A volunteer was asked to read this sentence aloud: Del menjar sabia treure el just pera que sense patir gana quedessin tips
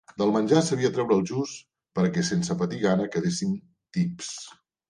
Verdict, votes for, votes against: accepted, 2, 0